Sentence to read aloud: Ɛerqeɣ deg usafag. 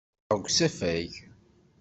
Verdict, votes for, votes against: rejected, 0, 2